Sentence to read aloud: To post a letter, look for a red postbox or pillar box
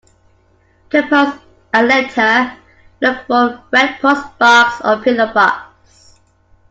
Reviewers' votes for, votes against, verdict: 2, 0, accepted